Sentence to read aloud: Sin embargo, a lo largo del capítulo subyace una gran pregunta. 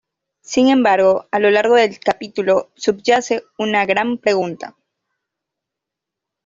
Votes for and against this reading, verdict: 2, 0, accepted